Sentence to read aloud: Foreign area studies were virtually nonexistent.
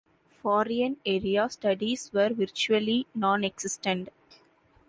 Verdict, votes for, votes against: accepted, 2, 1